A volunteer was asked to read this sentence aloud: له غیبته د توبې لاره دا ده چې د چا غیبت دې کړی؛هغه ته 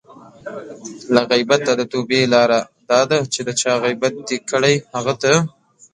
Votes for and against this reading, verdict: 2, 0, accepted